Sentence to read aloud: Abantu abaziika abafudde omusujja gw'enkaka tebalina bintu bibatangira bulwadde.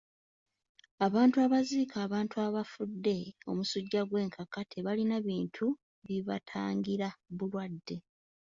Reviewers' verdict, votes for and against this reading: rejected, 0, 2